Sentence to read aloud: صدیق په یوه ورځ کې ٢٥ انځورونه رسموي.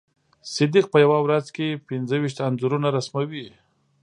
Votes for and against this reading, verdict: 0, 2, rejected